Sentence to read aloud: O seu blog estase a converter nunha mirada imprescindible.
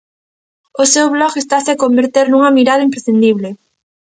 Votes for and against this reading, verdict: 2, 0, accepted